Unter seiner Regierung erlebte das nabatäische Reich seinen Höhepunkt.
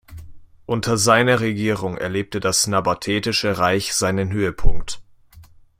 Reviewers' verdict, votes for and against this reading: rejected, 0, 2